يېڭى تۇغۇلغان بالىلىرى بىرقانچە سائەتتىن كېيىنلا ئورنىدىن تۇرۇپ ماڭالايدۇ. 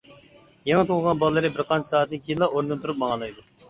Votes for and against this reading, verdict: 2, 0, accepted